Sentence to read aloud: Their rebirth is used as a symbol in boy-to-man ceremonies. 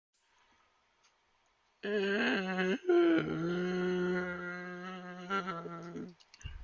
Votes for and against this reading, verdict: 0, 2, rejected